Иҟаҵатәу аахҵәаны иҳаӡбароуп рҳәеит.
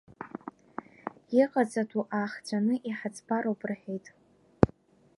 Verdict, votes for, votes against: rejected, 1, 2